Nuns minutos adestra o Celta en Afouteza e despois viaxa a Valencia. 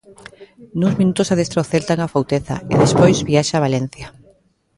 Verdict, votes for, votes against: rejected, 0, 2